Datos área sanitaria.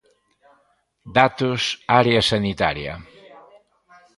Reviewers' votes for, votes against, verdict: 1, 2, rejected